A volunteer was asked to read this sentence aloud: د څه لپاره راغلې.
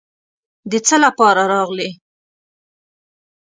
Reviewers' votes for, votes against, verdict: 2, 0, accepted